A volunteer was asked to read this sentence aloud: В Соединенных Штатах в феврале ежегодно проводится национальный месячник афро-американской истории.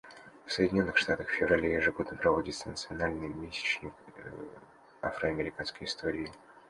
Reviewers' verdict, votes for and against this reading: rejected, 1, 2